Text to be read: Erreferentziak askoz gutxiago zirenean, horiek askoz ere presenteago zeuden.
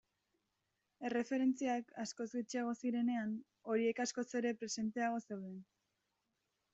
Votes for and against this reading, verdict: 2, 1, accepted